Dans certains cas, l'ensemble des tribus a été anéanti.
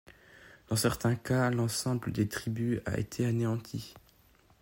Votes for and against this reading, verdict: 2, 0, accepted